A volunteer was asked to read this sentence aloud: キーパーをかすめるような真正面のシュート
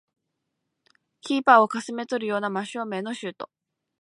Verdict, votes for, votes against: rejected, 0, 2